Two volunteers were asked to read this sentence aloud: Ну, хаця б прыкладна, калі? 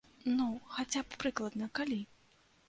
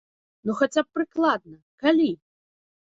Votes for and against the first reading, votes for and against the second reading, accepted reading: 2, 1, 1, 2, first